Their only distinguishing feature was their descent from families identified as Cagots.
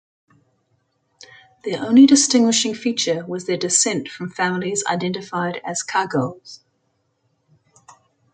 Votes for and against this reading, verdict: 2, 0, accepted